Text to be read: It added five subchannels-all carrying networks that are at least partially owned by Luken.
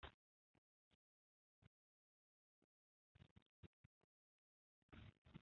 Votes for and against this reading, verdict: 0, 2, rejected